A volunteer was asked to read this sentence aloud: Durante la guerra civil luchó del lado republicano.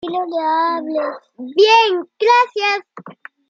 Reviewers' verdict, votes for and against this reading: rejected, 0, 2